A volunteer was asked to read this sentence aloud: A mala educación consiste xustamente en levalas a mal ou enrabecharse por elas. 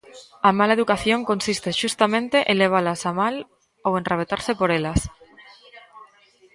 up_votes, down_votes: 0, 2